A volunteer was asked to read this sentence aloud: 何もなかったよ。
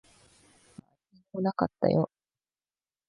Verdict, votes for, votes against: rejected, 0, 2